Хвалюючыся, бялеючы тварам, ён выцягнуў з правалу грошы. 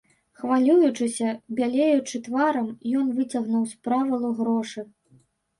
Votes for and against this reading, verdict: 1, 2, rejected